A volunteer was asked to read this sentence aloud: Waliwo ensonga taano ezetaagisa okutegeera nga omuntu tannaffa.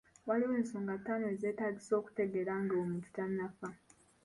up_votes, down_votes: 2, 1